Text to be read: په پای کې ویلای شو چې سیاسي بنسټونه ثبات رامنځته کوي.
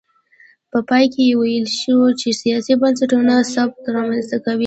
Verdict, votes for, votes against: rejected, 1, 2